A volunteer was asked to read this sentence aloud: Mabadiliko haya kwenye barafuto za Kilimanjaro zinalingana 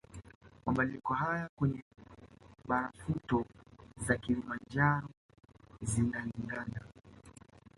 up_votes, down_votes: 1, 2